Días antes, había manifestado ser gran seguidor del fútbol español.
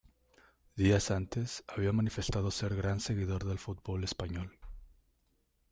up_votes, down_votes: 2, 0